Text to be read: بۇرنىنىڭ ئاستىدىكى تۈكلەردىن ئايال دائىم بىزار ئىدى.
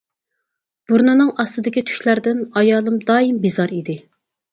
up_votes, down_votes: 2, 2